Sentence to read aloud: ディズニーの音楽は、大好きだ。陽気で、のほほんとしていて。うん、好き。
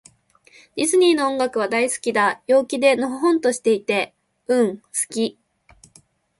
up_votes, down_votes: 3, 0